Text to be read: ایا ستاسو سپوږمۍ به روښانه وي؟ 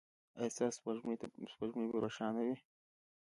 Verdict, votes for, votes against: accepted, 2, 1